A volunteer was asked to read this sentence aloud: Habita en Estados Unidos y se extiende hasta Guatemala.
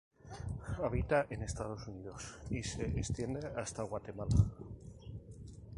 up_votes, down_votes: 2, 0